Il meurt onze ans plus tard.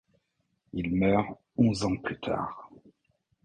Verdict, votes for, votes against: accepted, 2, 0